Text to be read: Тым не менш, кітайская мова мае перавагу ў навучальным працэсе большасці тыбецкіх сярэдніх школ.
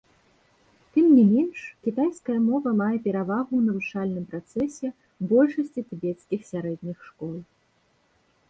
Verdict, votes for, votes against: accepted, 2, 1